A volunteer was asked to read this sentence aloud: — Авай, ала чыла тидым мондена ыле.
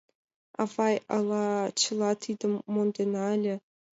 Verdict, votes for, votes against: accepted, 2, 0